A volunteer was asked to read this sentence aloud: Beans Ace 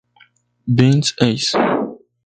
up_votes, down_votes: 2, 2